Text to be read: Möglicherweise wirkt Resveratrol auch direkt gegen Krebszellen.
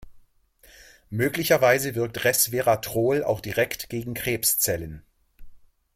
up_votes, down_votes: 2, 0